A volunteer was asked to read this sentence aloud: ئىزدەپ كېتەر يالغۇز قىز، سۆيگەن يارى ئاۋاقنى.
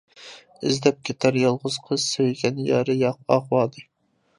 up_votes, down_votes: 0, 2